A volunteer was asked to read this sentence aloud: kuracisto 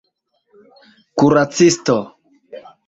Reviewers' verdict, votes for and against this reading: accepted, 2, 1